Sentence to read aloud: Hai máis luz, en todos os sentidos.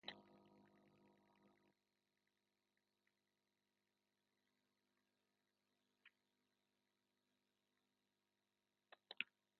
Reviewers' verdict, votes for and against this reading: rejected, 0, 2